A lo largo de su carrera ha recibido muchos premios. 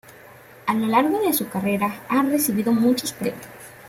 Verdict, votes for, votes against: accepted, 2, 0